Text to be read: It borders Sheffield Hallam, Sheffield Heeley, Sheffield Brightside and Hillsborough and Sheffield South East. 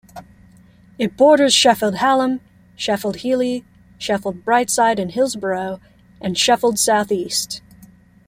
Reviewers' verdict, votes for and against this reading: accepted, 2, 0